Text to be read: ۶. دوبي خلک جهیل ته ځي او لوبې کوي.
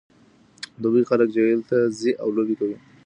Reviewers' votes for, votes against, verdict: 0, 2, rejected